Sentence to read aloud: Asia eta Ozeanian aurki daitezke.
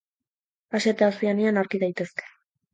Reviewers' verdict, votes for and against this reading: accepted, 6, 0